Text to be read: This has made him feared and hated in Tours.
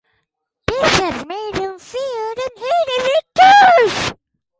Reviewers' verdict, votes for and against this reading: rejected, 2, 4